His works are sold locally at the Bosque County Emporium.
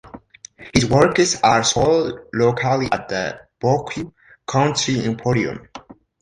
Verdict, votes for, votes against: rejected, 0, 2